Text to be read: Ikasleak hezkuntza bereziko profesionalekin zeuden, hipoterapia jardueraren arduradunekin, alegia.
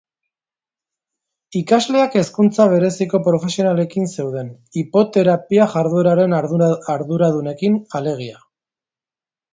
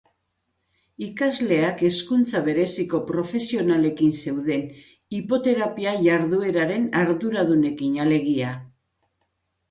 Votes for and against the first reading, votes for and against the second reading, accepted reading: 0, 2, 2, 0, second